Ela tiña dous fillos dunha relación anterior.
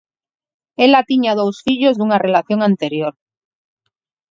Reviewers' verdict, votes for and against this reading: accepted, 4, 0